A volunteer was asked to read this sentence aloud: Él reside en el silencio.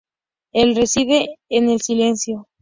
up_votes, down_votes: 4, 0